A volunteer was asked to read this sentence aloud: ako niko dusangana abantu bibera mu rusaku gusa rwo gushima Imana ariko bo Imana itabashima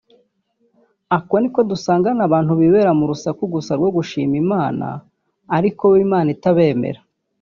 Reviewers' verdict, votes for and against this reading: rejected, 1, 3